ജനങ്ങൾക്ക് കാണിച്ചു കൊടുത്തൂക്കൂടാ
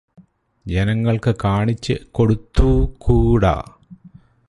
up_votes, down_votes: 4, 0